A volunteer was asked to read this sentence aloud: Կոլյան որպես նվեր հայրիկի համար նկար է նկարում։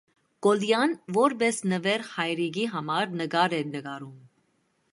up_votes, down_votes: 1, 2